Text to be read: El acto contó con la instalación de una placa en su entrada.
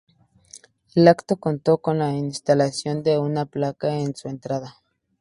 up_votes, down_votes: 4, 0